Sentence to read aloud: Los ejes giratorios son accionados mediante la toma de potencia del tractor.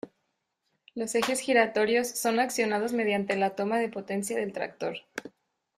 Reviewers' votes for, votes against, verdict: 2, 0, accepted